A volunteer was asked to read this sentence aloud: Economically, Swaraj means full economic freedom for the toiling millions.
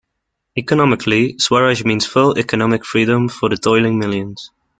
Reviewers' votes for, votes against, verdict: 1, 2, rejected